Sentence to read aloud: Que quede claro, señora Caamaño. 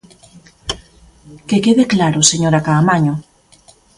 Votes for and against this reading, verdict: 2, 1, accepted